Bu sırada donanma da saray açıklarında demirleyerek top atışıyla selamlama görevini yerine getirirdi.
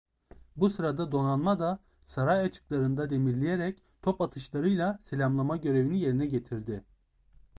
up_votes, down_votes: 0, 2